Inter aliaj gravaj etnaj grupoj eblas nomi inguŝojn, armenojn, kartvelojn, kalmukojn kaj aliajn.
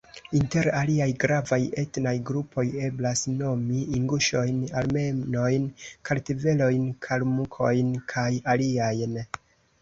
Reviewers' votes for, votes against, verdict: 2, 0, accepted